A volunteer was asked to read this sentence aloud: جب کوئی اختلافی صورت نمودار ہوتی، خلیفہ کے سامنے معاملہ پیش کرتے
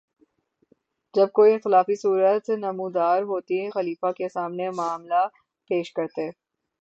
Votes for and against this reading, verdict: 6, 0, accepted